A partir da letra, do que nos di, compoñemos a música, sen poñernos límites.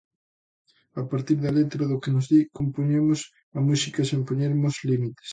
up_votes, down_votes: 2, 0